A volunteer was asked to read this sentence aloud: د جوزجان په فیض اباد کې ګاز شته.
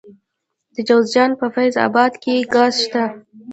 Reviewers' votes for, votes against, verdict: 0, 2, rejected